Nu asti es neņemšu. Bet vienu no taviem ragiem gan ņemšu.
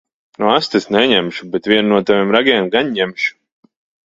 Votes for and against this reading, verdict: 2, 0, accepted